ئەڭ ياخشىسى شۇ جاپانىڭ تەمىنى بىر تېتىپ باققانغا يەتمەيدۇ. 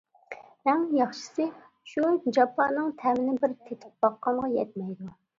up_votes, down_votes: 2, 0